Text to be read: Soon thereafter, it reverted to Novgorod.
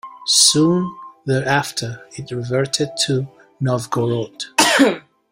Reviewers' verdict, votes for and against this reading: accepted, 2, 0